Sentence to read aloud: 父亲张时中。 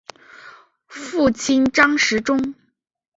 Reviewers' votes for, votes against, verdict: 3, 0, accepted